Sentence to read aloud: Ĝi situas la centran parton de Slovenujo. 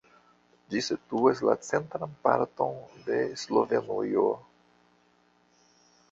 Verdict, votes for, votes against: rejected, 1, 2